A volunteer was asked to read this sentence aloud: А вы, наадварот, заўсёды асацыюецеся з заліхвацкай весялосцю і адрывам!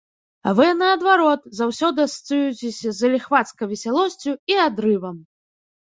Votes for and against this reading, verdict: 2, 0, accepted